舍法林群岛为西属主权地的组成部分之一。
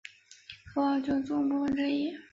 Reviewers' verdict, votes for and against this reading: rejected, 0, 2